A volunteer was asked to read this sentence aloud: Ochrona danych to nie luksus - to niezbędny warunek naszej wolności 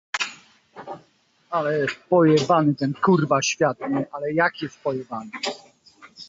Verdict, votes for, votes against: rejected, 0, 2